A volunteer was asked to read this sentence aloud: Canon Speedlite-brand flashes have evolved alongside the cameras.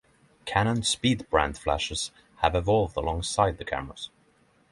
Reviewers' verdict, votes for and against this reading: rejected, 0, 3